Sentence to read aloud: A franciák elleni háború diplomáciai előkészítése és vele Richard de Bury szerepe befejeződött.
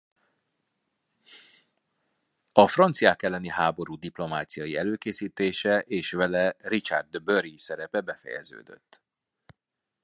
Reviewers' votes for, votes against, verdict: 2, 1, accepted